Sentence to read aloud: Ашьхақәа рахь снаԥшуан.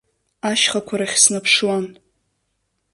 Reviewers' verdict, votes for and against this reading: accepted, 2, 0